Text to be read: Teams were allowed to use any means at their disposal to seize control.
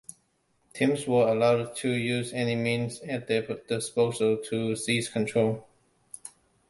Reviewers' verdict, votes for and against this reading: rejected, 1, 2